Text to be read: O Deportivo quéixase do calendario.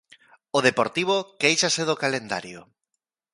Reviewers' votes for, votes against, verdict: 2, 0, accepted